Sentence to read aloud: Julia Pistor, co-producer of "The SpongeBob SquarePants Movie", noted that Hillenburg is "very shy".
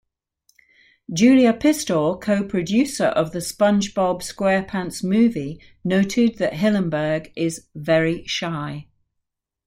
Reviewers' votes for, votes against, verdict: 2, 0, accepted